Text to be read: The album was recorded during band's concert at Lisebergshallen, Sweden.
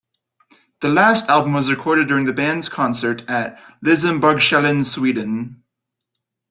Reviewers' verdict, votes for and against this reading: rejected, 0, 2